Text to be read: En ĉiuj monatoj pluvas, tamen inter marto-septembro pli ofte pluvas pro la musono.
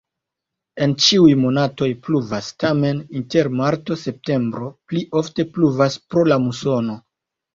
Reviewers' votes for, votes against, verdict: 2, 0, accepted